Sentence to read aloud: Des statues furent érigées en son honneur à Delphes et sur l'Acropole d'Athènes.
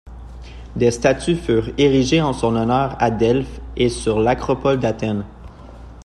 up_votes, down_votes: 2, 0